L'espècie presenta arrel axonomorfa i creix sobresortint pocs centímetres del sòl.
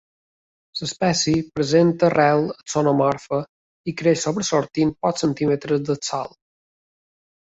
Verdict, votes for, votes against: accepted, 2, 0